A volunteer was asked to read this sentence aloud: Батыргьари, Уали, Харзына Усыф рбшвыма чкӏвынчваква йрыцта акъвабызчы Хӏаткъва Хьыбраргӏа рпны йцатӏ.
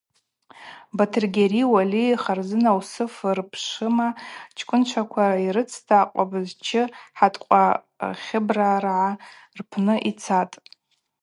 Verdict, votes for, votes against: accepted, 2, 0